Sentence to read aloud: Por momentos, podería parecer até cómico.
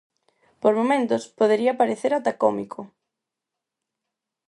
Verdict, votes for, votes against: accepted, 4, 2